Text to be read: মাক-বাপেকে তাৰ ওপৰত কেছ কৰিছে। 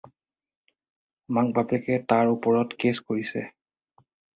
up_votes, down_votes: 4, 0